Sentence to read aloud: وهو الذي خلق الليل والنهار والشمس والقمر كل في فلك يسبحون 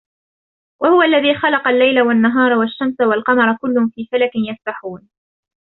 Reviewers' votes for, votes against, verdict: 0, 2, rejected